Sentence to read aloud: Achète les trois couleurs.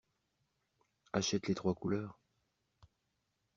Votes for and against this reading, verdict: 2, 0, accepted